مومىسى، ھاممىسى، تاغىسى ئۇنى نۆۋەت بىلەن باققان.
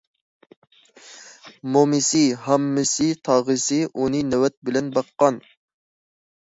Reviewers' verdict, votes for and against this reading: accepted, 2, 0